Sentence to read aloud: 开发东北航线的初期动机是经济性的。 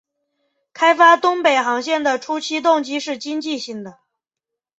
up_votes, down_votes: 4, 1